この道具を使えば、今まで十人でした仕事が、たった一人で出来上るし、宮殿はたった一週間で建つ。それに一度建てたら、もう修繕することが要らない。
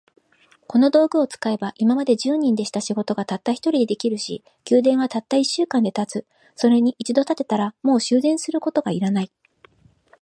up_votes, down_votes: 2, 0